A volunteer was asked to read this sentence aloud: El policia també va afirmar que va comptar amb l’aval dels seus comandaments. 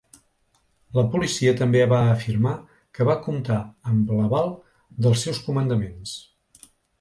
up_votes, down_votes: 0, 2